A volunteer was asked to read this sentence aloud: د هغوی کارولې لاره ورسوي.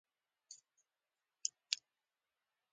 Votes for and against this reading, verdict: 0, 2, rejected